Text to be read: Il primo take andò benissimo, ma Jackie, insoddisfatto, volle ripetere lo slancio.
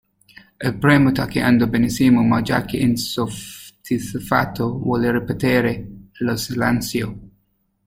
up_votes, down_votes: 0, 2